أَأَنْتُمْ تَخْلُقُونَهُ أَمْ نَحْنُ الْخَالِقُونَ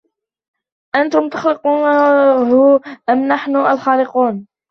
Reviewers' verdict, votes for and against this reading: rejected, 0, 2